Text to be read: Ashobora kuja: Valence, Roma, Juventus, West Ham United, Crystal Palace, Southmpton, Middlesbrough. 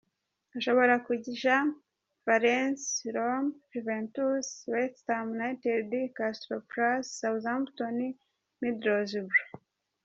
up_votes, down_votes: 2, 1